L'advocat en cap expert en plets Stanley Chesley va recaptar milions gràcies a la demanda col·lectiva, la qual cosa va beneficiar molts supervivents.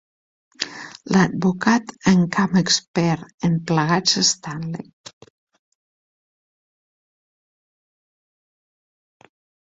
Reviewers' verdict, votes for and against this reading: rejected, 0, 2